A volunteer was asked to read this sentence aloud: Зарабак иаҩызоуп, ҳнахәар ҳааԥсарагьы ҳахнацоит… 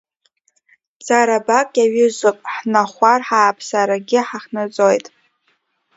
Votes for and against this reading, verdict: 1, 2, rejected